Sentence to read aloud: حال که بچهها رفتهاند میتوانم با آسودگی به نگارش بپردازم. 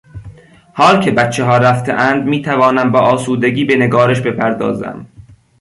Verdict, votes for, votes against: accepted, 2, 0